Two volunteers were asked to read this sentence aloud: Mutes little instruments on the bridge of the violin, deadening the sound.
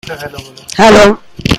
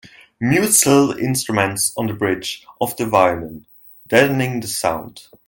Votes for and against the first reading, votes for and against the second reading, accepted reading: 0, 2, 2, 0, second